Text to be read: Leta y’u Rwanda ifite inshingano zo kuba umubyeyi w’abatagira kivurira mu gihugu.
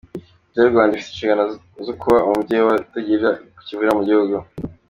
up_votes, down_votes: 0, 3